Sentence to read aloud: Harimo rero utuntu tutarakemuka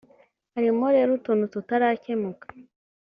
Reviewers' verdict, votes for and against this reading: accepted, 2, 0